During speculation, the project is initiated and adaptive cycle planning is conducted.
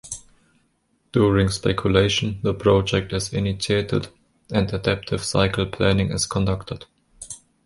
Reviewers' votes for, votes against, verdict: 0, 2, rejected